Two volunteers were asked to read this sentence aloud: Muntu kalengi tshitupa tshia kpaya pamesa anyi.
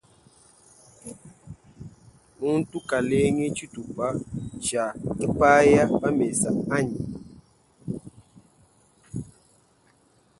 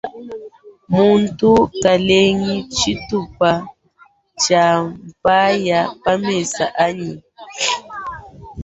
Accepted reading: first